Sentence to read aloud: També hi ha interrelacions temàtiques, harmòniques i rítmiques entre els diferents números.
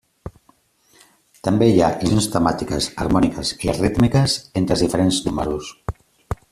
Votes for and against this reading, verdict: 0, 2, rejected